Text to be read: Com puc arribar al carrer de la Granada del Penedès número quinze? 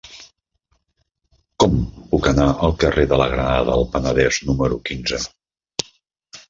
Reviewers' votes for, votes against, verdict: 0, 3, rejected